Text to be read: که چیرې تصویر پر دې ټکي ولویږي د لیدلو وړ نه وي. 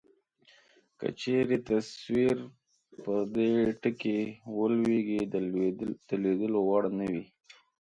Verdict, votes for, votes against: accepted, 2, 0